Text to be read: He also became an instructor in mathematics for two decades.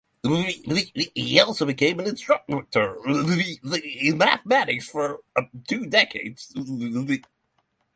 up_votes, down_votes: 0, 3